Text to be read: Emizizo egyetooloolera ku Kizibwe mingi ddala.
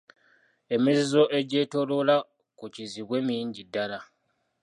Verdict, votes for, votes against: rejected, 0, 2